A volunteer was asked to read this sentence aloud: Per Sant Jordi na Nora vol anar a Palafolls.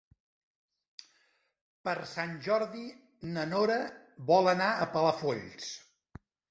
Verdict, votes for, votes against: accepted, 3, 0